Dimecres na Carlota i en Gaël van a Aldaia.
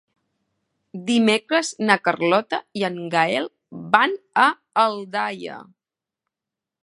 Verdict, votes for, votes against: accepted, 3, 0